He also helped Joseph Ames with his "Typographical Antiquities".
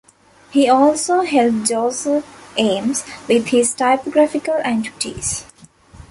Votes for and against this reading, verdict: 0, 2, rejected